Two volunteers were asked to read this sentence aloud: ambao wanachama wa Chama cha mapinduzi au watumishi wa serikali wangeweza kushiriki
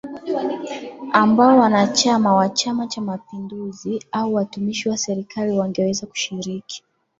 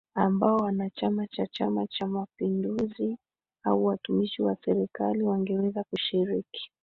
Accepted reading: first